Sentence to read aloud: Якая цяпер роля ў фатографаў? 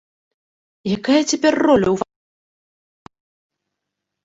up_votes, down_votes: 0, 2